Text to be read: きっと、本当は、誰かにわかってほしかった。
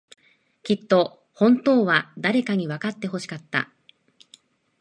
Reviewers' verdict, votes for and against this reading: accepted, 2, 0